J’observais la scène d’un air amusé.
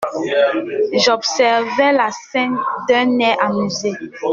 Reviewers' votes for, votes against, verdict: 2, 0, accepted